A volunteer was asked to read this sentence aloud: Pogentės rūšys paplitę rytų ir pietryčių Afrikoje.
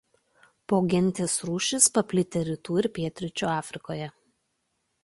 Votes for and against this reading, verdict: 2, 0, accepted